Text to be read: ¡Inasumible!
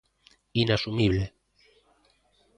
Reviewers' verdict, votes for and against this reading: rejected, 1, 2